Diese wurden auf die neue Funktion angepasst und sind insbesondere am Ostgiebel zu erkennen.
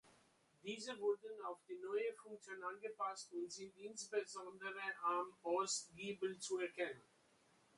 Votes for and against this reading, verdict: 2, 0, accepted